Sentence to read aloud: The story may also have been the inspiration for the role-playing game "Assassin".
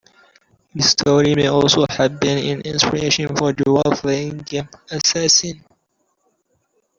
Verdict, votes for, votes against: rejected, 0, 2